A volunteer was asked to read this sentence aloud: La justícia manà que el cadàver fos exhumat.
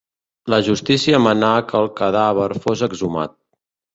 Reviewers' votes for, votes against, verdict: 2, 0, accepted